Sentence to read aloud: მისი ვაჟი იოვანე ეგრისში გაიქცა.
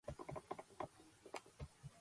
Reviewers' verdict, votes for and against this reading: rejected, 0, 2